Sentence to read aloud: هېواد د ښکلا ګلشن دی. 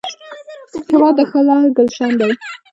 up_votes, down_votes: 2, 0